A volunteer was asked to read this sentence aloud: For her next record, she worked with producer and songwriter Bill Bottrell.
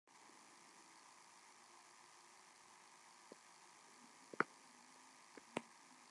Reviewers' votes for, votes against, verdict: 0, 2, rejected